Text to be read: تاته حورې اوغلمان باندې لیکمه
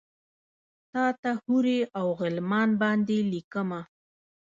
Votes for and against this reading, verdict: 0, 2, rejected